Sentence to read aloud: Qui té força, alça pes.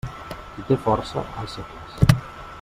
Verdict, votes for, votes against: rejected, 1, 2